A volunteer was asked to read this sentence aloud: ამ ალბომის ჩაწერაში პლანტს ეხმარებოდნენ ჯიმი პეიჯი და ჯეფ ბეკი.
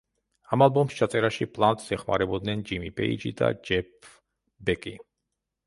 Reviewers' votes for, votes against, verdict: 1, 2, rejected